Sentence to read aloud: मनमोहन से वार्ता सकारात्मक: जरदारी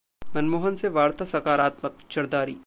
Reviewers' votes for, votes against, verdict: 2, 0, accepted